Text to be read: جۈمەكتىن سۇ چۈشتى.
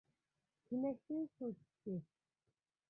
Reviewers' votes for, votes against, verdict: 0, 2, rejected